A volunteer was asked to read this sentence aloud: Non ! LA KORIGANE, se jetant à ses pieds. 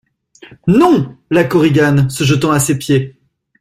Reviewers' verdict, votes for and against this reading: accepted, 2, 0